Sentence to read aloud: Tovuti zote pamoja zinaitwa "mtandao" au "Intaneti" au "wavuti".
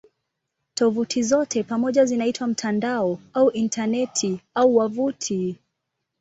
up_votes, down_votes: 2, 0